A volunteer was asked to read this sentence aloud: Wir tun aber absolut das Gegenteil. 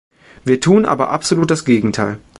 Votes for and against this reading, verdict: 2, 0, accepted